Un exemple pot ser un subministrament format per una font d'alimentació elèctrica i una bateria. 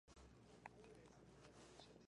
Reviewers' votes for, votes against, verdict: 0, 2, rejected